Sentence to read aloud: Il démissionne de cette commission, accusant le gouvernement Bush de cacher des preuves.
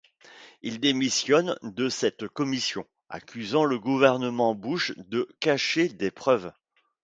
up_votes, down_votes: 2, 0